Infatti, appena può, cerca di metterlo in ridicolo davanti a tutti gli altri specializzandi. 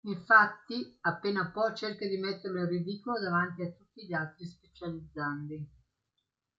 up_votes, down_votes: 2, 0